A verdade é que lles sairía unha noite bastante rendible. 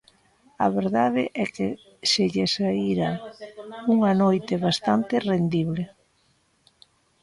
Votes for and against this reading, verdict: 1, 3, rejected